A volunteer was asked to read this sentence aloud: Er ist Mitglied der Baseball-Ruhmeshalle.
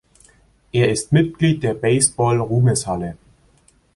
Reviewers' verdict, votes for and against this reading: accepted, 2, 0